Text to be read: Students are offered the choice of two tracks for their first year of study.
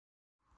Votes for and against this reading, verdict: 0, 2, rejected